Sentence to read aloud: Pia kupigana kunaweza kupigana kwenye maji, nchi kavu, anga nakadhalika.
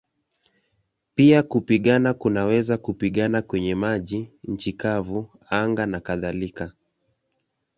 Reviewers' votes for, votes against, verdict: 2, 0, accepted